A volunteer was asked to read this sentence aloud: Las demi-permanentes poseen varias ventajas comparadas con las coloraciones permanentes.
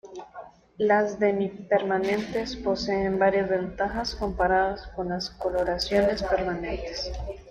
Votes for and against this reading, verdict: 1, 2, rejected